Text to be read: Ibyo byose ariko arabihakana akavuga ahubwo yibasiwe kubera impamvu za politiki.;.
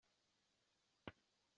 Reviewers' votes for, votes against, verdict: 0, 2, rejected